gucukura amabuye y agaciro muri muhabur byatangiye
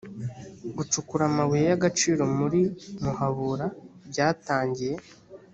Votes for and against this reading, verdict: 2, 0, accepted